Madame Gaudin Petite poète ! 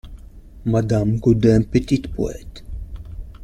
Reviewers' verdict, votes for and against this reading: accepted, 2, 0